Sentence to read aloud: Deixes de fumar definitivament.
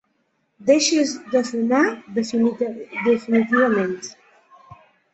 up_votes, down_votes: 1, 3